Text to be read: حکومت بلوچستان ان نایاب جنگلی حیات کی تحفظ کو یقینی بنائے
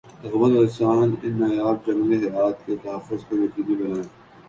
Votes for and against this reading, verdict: 1, 2, rejected